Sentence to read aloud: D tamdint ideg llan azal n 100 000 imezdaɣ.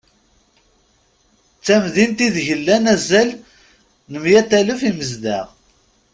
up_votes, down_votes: 0, 2